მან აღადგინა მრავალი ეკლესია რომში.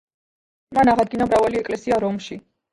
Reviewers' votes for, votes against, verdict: 1, 2, rejected